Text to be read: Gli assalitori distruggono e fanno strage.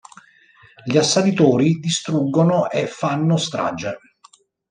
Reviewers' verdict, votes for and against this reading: accepted, 2, 0